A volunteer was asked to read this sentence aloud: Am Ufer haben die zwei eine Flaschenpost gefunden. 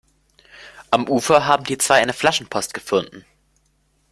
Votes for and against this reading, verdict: 0, 2, rejected